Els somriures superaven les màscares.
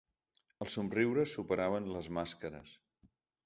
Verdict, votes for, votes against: accepted, 2, 0